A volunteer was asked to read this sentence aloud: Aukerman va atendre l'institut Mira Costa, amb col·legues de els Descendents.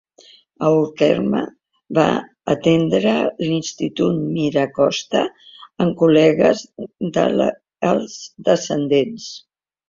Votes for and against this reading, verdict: 0, 2, rejected